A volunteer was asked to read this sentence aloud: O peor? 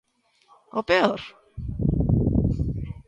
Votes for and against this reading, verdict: 2, 0, accepted